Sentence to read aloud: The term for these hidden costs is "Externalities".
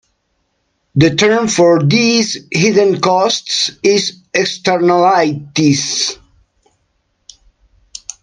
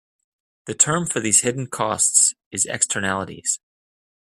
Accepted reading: second